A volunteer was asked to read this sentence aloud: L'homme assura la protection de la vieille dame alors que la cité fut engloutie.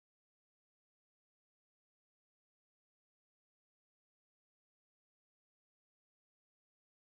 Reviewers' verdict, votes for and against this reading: rejected, 0, 2